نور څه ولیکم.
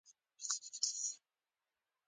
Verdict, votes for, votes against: accepted, 2, 0